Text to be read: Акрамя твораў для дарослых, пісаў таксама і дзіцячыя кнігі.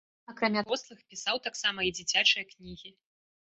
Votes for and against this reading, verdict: 0, 2, rejected